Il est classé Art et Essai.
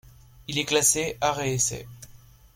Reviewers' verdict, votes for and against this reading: accepted, 2, 1